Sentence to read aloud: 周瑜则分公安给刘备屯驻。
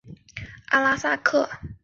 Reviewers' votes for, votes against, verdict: 1, 3, rejected